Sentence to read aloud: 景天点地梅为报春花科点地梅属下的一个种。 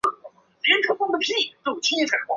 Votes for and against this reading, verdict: 1, 5, rejected